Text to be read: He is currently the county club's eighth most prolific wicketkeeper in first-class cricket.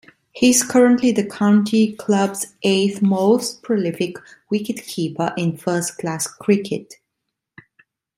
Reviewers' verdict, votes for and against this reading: accepted, 2, 1